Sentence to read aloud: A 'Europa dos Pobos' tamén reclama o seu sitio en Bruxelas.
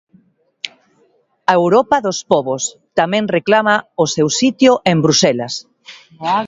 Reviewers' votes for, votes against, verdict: 1, 2, rejected